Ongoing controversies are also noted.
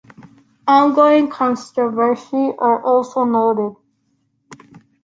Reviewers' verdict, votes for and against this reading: rejected, 1, 2